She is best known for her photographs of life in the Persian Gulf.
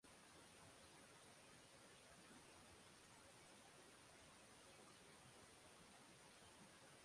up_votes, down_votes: 0, 6